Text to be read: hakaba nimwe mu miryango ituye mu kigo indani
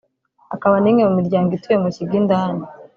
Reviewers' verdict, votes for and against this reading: rejected, 1, 2